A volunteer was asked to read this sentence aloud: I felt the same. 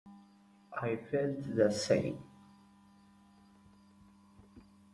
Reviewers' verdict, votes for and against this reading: accepted, 2, 0